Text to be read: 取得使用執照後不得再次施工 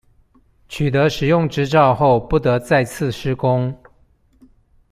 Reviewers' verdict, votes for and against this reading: accepted, 2, 0